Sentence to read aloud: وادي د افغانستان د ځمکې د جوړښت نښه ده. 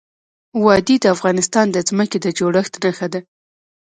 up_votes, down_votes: 0, 2